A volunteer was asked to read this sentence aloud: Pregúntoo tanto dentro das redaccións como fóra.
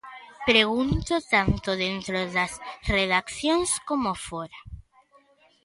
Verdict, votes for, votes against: rejected, 1, 2